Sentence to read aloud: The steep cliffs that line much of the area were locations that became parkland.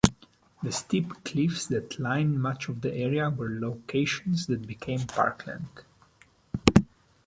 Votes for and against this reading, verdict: 2, 0, accepted